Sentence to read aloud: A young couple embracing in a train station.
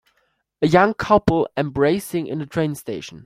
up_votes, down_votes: 2, 0